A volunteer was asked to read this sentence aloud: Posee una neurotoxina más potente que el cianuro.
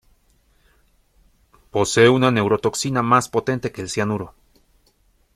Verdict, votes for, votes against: accepted, 2, 1